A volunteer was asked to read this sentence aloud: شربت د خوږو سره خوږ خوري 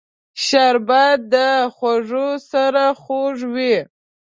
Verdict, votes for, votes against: rejected, 0, 2